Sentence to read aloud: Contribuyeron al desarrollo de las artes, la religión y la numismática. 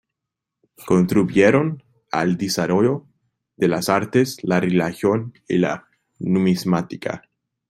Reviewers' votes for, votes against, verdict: 0, 2, rejected